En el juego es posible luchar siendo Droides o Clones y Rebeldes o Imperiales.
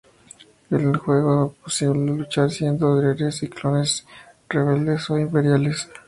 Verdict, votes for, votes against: rejected, 0, 2